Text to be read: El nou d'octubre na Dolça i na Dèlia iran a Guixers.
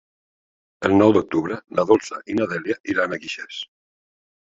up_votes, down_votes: 1, 2